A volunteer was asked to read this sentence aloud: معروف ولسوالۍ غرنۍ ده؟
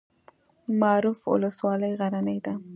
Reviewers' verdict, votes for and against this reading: rejected, 0, 2